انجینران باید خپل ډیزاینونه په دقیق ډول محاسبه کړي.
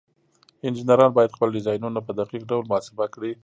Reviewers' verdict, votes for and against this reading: accepted, 2, 0